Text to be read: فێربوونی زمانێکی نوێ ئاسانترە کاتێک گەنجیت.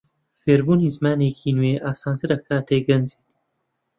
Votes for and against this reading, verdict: 2, 0, accepted